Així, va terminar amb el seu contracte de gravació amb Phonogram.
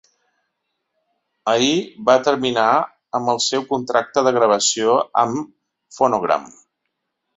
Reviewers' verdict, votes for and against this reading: rejected, 0, 3